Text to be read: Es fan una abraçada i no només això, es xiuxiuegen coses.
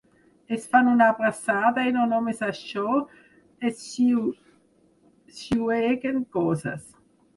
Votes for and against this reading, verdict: 2, 4, rejected